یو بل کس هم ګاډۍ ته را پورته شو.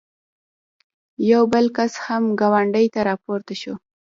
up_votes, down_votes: 1, 2